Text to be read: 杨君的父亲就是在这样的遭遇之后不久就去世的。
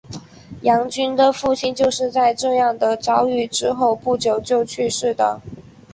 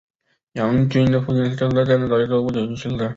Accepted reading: first